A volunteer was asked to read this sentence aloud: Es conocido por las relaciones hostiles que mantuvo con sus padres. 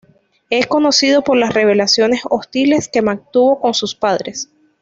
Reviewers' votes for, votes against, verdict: 1, 2, rejected